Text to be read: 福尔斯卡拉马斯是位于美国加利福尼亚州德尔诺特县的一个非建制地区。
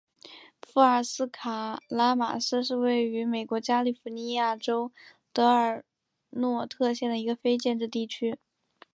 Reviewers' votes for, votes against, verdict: 4, 1, accepted